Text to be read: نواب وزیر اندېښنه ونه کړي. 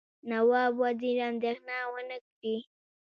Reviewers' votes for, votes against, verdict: 2, 1, accepted